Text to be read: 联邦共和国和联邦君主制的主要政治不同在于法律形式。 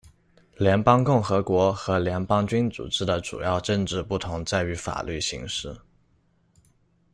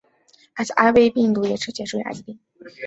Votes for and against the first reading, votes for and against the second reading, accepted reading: 2, 0, 0, 2, first